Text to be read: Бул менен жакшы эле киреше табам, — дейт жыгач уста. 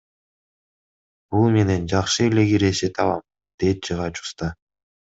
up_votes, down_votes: 2, 0